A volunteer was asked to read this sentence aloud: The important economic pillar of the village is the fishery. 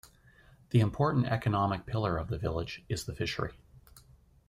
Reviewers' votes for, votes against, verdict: 2, 0, accepted